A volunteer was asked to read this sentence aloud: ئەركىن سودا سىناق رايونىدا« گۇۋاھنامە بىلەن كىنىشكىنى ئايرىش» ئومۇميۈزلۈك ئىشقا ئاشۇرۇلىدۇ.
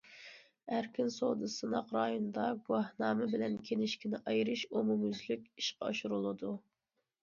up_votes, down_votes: 2, 0